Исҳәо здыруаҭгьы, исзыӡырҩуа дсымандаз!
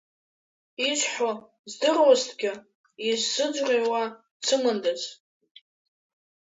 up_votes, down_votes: 2, 0